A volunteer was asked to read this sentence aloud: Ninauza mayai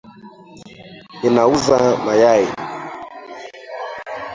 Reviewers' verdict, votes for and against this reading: rejected, 0, 2